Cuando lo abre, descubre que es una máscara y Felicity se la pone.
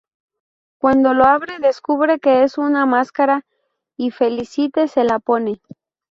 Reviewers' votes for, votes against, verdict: 0, 2, rejected